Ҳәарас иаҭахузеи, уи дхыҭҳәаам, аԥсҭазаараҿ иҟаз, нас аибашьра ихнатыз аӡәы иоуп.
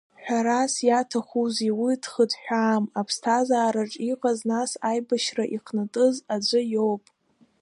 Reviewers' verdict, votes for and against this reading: accepted, 2, 0